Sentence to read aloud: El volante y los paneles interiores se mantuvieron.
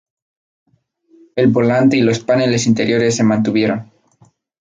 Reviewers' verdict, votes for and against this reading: accepted, 4, 0